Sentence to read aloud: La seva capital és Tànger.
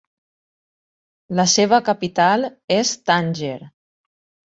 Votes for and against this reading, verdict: 2, 0, accepted